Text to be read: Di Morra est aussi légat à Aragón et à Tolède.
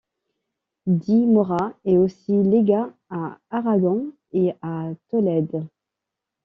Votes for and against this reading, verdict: 2, 0, accepted